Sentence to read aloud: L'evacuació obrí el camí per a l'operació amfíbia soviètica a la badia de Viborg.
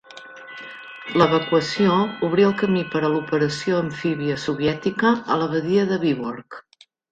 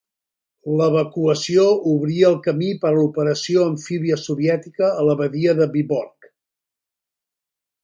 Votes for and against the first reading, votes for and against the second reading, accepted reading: 1, 2, 2, 0, second